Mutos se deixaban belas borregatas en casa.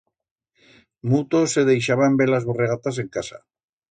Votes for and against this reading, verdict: 2, 0, accepted